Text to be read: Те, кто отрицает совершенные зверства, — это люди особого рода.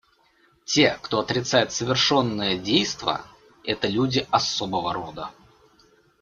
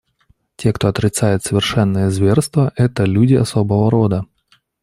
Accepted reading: second